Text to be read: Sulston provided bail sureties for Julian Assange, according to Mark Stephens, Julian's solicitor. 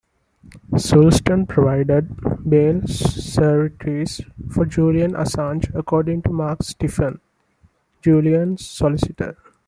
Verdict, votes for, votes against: rejected, 0, 2